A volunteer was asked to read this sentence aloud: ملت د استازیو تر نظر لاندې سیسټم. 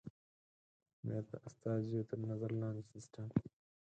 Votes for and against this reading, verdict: 2, 4, rejected